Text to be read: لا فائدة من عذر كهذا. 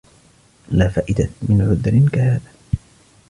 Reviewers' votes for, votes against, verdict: 2, 0, accepted